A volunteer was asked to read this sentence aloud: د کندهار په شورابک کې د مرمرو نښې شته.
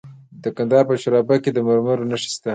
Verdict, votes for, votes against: accepted, 2, 0